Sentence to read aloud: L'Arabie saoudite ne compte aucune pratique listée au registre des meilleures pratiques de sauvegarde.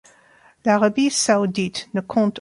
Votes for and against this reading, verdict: 0, 2, rejected